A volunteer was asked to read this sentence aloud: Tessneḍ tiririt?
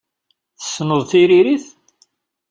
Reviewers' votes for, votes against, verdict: 2, 0, accepted